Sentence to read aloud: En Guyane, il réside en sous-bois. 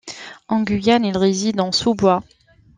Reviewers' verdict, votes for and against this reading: accepted, 2, 0